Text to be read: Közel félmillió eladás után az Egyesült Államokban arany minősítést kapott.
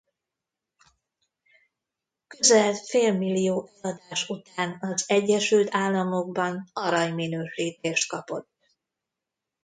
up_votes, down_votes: 1, 2